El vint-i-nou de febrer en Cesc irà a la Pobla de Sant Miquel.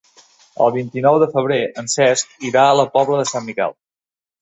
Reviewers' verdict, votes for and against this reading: accepted, 2, 0